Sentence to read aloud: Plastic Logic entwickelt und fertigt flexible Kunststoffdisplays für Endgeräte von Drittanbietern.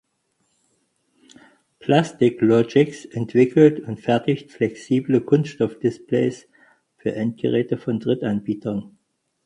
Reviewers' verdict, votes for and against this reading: rejected, 0, 4